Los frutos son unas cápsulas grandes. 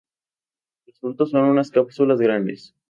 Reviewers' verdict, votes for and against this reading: rejected, 2, 4